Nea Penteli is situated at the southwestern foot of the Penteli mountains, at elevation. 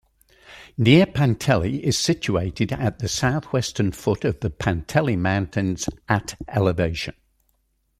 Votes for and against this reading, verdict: 2, 0, accepted